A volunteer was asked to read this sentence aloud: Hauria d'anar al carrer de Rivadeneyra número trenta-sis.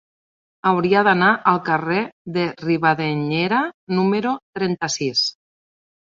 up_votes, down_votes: 0, 3